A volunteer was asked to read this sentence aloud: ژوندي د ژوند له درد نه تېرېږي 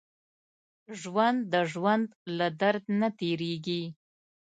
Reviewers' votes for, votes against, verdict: 0, 2, rejected